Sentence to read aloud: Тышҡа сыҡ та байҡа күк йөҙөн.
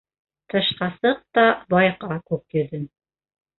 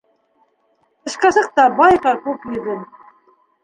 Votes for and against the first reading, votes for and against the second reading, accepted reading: 1, 2, 2, 0, second